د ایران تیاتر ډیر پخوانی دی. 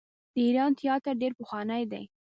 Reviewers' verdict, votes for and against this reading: rejected, 1, 2